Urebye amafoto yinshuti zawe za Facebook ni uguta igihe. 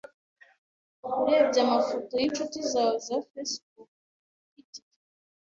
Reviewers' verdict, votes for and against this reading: rejected, 1, 2